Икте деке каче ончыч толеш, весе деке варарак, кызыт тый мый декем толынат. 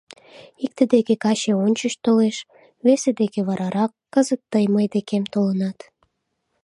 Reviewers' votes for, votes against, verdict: 2, 0, accepted